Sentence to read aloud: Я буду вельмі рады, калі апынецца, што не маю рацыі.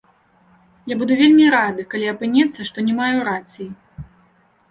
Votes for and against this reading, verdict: 2, 0, accepted